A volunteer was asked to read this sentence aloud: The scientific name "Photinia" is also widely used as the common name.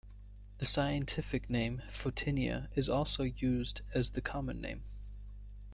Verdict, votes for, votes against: rejected, 1, 2